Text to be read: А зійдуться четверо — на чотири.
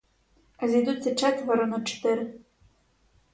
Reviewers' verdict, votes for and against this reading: accepted, 2, 0